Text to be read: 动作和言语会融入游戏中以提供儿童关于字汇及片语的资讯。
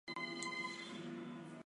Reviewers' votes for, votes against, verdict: 0, 2, rejected